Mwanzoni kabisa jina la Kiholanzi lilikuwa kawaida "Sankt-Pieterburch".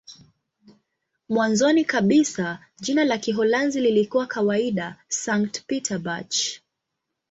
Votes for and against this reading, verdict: 2, 0, accepted